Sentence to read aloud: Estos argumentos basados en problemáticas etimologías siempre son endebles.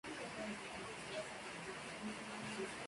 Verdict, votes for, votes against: rejected, 0, 2